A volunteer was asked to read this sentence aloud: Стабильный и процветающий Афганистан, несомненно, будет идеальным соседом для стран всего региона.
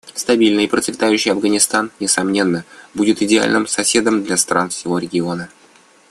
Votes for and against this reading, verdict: 0, 2, rejected